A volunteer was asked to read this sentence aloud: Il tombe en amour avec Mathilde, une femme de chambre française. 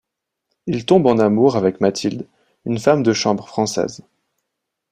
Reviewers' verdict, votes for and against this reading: accepted, 2, 0